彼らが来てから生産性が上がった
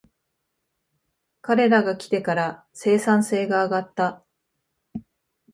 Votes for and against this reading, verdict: 2, 0, accepted